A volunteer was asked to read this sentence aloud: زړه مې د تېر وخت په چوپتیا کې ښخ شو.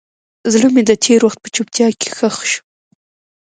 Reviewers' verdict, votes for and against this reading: accepted, 2, 0